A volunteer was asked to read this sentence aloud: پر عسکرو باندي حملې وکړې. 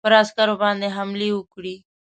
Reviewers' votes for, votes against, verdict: 1, 2, rejected